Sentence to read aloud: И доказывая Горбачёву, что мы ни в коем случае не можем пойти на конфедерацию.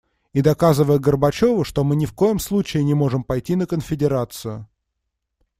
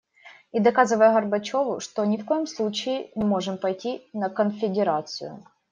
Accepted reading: first